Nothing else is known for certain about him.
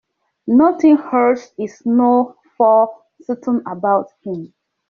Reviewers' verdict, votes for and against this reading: rejected, 0, 2